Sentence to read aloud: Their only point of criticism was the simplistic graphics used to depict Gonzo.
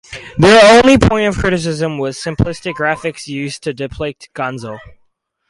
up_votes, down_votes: 0, 4